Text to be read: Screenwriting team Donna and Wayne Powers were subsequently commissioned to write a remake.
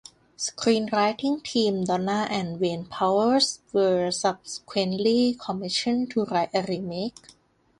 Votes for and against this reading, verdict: 2, 0, accepted